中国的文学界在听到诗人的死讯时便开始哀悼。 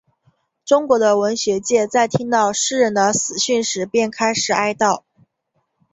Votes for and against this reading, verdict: 2, 0, accepted